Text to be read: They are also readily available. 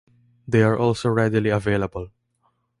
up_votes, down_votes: 2, 0